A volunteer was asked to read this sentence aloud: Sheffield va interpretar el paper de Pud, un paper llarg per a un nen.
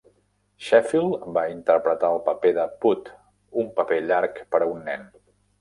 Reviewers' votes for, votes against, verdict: 2, 0, accepted